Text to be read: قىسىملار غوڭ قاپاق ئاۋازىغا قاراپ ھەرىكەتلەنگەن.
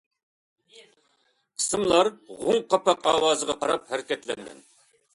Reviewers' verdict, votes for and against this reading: accepted, 2, 0